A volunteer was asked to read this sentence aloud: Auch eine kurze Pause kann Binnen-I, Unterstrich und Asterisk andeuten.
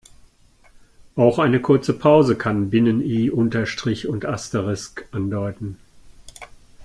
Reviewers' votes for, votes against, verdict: 2, 0, accepted